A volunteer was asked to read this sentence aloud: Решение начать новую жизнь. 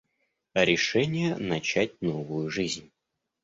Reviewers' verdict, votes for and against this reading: accepted, 2, 0